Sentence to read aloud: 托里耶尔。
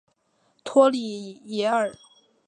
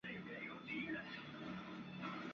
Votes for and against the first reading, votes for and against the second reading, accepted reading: 2, 0, 1, 3, first